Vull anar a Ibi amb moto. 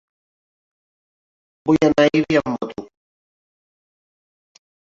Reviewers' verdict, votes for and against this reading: rejected, 0, 3